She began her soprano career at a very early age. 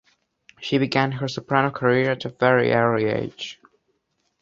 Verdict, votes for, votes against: accepted, 2, 0